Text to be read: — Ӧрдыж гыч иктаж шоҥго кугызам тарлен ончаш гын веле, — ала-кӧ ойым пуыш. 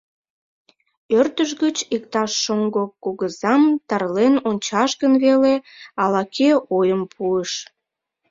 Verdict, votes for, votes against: accepted, 2, 0